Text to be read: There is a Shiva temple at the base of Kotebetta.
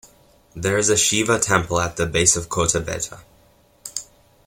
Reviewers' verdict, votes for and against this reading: accepted, 2, 0